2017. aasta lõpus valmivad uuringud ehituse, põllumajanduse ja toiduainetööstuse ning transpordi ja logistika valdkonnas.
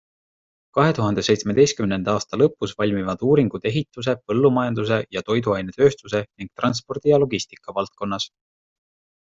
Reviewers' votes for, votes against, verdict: 0, 2, rejected